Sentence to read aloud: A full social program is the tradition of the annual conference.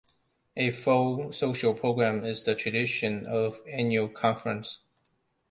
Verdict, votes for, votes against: rejected, 0, 2